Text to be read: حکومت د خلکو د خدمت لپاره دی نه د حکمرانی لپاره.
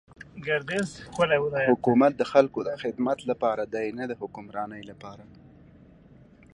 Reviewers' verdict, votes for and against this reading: accepted, 2, 0